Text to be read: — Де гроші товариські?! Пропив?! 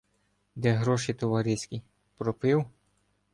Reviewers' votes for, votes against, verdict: 1, 2, rejected